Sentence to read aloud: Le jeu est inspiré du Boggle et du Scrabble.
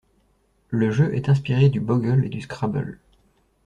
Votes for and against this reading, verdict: 2, 0, accepted